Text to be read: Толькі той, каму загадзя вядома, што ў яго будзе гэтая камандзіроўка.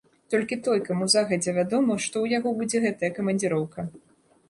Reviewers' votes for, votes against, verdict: 2, 0, accepted